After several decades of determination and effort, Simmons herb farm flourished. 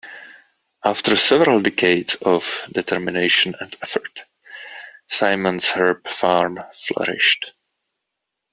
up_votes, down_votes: 1, 2